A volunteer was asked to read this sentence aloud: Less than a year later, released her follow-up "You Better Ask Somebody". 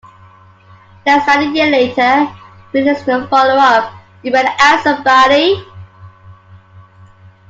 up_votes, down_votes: 0, 2